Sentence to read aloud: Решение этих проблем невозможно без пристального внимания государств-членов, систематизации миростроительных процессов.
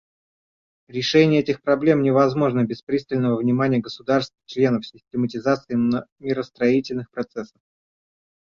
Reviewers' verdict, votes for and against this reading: rejected, 1, 2